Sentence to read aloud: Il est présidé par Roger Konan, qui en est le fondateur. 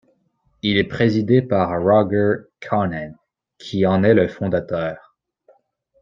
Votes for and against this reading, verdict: 1, 2, rejected